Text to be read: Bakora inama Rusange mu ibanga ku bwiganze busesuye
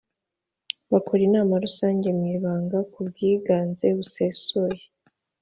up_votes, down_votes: 2, 0